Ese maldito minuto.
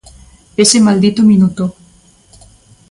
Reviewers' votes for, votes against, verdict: 2, 0, accepted